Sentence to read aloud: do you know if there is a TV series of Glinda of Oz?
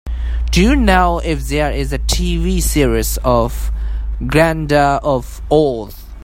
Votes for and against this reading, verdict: 2, 0, accepted